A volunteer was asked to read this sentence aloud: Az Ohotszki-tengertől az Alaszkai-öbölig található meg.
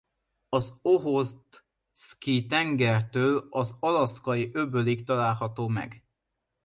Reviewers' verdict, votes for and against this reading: rejected, 1, 2